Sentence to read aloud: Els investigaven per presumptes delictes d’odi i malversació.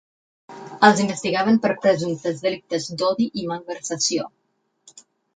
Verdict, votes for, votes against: accepted, 6, 0